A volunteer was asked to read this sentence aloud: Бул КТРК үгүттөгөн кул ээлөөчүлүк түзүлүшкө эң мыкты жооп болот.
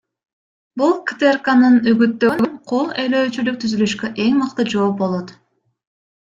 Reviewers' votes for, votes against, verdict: 1, 2, rejected